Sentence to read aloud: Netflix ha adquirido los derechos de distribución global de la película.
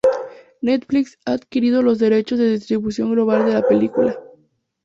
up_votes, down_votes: 2, 0